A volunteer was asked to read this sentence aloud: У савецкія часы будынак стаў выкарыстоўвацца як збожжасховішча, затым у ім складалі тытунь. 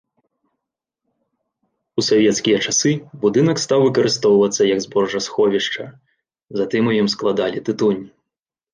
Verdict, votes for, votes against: rejected, 0, 2